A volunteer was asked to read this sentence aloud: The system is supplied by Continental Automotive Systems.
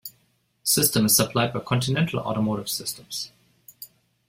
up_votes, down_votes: 2, 1